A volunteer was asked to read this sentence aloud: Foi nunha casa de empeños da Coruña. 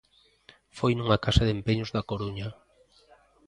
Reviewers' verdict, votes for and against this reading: accepted, 2, 0